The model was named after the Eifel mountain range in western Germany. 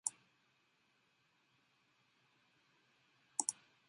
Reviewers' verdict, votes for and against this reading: rejected, 0, 2